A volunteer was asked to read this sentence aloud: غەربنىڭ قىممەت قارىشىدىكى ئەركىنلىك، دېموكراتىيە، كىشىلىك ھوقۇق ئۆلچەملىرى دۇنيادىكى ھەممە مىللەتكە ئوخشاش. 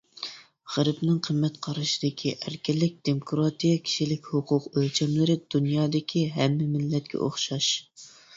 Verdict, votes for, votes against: accepted, 2, 0